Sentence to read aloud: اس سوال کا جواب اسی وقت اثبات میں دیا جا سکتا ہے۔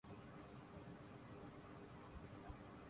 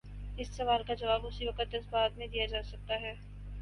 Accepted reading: second